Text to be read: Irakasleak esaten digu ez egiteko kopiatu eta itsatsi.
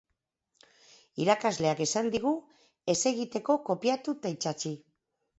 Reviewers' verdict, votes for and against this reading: rejected, 0, 2